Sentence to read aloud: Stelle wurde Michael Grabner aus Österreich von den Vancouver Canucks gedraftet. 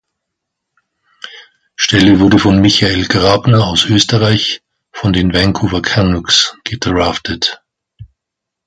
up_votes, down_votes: 0, 2